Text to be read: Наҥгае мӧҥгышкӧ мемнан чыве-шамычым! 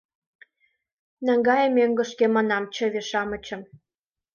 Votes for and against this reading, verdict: 1, 2, rejected